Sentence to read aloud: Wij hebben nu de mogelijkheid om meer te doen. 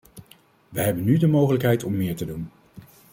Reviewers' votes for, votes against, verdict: 2, 0, accepted